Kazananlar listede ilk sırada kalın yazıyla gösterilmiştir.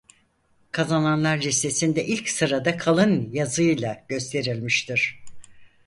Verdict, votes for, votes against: rejected, 2, 4